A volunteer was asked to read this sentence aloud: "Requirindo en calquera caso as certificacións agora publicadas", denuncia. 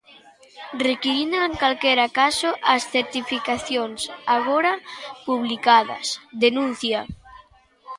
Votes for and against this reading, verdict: 1, 2, rejected